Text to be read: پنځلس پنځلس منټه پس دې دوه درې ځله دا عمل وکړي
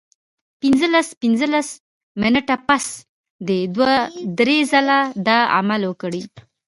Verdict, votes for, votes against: rejected, 0, 2